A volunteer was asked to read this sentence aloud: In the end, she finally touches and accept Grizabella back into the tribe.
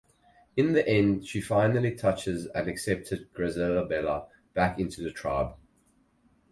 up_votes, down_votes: 2, 2